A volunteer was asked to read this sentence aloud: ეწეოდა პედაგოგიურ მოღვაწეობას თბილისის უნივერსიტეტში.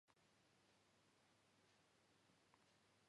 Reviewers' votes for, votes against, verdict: 1, 2, rejected